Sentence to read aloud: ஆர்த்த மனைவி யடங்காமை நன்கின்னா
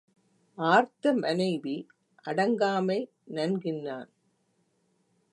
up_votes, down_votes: 1, 2